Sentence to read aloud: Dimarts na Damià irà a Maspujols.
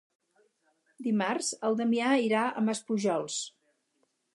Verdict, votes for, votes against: rejected, 0, 4